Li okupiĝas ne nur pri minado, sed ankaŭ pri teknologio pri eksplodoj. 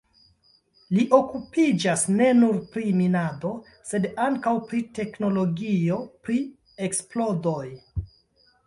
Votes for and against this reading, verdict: 2, 0, accepted